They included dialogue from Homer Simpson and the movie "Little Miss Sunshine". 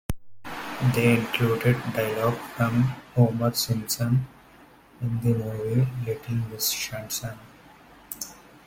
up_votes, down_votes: 1, 2